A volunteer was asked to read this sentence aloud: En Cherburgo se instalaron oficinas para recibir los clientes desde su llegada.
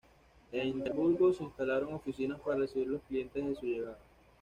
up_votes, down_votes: 1, 2